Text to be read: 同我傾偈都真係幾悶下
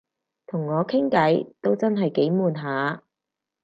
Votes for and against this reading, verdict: 4, 0, accepted